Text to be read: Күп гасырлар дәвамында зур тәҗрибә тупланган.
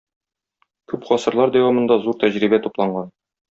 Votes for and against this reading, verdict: 2, 0, accepted